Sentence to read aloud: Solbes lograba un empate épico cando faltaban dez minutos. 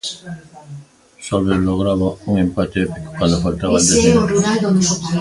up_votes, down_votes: 0, 2